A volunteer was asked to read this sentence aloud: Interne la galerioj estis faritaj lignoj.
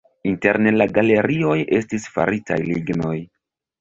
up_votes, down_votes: 2, 0